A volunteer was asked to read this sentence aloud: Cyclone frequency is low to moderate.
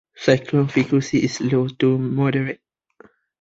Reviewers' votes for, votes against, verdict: 2, 1, accepted